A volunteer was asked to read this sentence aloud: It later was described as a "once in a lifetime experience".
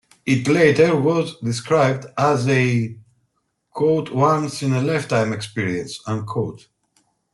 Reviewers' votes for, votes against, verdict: 0, 2, rejected